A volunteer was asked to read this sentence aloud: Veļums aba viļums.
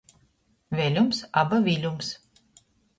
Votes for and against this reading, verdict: 2, 0, accepted